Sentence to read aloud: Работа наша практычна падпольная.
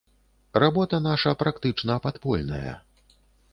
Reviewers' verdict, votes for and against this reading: accepted, 2, 0